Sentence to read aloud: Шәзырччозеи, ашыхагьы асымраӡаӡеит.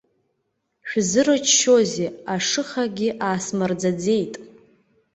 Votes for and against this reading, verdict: 3, 0, accepted